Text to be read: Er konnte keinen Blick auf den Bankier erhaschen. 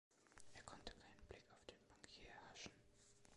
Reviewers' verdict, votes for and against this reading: rejected, 1, 2